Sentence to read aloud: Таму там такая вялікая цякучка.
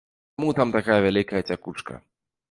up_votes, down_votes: 2, 0